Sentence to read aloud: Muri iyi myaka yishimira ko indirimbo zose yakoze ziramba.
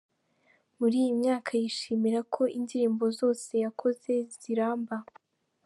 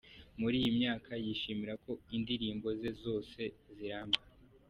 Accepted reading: first